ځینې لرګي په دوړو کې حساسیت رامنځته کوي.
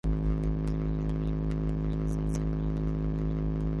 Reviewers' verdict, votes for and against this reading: rejected, 1, 3